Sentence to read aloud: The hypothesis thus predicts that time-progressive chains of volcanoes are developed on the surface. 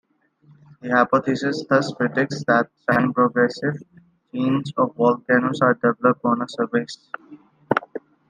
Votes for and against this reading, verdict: 1, 2, rejected